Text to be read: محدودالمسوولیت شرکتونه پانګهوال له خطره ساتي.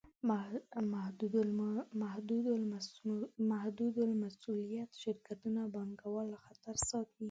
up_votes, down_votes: 0, 2